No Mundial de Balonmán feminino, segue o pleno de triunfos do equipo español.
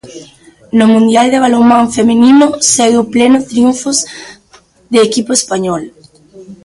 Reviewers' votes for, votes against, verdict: 0, 2, rejected